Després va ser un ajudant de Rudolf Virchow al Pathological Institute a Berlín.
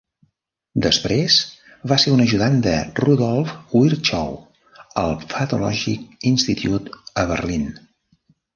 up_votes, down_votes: 1, 2